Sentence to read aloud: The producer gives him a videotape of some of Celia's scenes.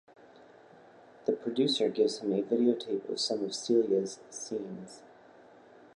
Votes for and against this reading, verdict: 2, 0, accepted